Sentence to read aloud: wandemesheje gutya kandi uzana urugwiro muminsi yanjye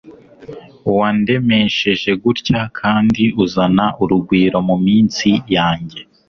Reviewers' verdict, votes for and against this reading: accepted, 3, 0